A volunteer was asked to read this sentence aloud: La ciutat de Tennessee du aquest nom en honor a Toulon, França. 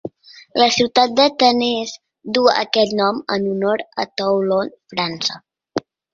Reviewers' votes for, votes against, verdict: 1, 2, rejected